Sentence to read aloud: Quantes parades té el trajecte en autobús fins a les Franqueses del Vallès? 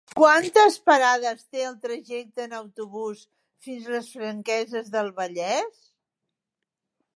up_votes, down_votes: 3, 1